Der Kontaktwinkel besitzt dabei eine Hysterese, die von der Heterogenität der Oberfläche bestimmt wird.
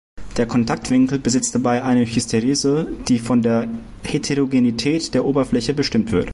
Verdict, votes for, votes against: accepted, 2, 0